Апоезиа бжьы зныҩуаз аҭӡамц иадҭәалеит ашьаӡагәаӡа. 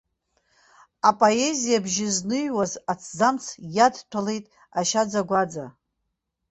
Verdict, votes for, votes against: accepted, 2, 0